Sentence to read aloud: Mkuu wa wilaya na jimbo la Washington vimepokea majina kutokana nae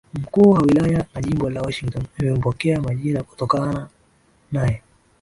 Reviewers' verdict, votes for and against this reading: rejected, 2, 3